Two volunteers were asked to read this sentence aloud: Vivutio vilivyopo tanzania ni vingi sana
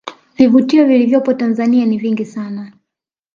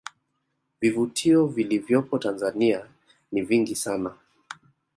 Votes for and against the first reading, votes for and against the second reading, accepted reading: 2, 0, 1, 2, first